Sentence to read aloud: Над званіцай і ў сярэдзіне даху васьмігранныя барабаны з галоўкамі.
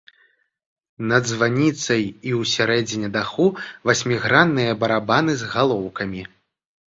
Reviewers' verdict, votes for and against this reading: rejected, 1, 2